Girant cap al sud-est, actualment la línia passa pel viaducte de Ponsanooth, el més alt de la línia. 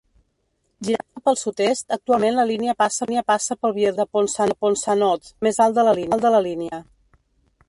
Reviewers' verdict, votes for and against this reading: rejected, 0, 2